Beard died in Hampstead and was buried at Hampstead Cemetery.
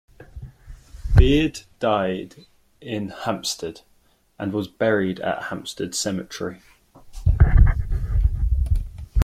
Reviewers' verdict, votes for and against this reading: accepted, 2, 0